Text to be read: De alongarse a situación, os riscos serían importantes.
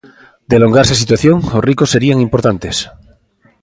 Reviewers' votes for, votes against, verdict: 0, 2, rejected